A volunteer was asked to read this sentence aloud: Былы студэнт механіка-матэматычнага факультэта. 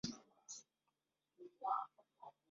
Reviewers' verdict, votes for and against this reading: rejected, 0, 2